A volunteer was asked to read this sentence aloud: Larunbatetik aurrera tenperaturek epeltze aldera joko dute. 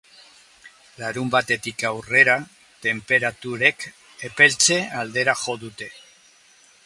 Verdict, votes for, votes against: rejected, 0, 2